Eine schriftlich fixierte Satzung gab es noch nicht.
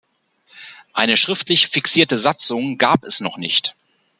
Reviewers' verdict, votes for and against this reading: accepted, 2, 0